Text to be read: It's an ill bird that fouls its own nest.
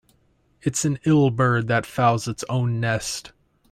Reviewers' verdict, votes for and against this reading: accepted, 2, 0